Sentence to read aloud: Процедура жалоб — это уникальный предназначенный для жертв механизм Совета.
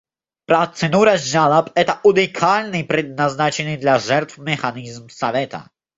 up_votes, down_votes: 1, 2